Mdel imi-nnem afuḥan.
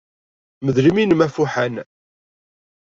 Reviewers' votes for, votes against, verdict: 2, 0, accepted